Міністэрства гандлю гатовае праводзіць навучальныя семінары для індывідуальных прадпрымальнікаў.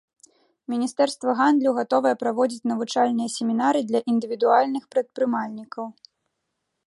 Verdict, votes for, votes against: rejected, 0, 2